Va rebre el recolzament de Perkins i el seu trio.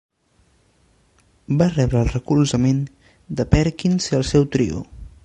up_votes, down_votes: 2, 0